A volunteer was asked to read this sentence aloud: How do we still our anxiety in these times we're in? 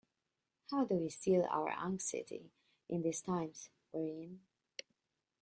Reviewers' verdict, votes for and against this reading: rejected, 0, 2